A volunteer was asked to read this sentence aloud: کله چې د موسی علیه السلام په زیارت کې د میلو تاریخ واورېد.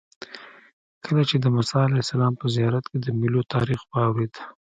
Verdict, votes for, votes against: accepted, 2, 0